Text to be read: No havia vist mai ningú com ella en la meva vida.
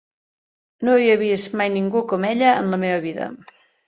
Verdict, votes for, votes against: accepted, 2, 0